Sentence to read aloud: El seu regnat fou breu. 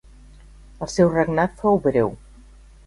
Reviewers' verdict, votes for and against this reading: accepted, 3, 0